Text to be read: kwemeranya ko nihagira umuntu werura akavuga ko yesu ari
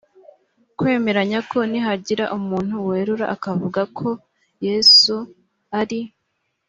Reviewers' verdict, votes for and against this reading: accepted, 2, 0